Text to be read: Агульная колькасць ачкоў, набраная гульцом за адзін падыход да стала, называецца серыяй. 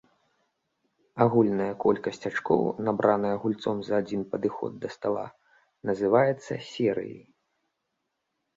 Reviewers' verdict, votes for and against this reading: accepted, 2, 0